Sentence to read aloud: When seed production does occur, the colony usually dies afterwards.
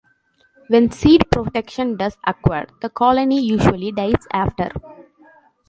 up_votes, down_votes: 1, 2